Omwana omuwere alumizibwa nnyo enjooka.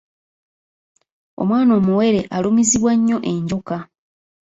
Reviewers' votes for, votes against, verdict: 2, 1, accepted